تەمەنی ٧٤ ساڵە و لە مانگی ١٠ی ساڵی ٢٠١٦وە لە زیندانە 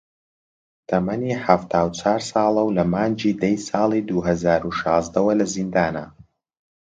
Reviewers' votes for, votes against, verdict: 0, 2, rejected